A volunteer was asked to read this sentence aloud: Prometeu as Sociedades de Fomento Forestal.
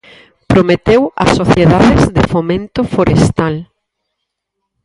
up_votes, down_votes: 0, 4